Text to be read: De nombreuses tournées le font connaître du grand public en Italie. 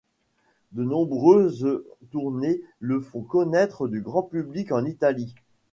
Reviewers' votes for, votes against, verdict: 0, 2, rejected